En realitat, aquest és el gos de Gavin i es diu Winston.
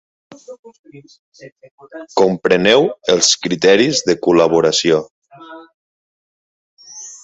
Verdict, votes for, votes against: rejected, 0, 2